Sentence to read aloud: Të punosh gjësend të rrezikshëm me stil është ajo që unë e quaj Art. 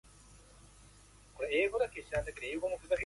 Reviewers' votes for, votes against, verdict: 0, 2, rejected